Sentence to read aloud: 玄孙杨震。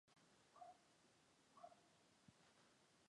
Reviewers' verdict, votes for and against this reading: rejected, 0, 2